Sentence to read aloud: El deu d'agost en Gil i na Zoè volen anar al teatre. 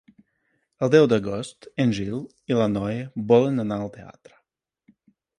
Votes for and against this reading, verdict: 0, 2, rejected